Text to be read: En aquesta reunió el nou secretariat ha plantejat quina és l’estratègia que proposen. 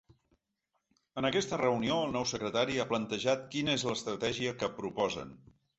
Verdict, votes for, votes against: rejected, 0, 2